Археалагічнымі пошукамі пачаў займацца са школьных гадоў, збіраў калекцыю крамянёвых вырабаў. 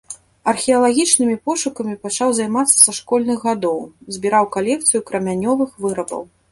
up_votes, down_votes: 2, 0